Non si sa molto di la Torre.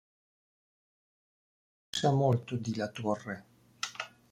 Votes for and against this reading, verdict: 1, 2, rejected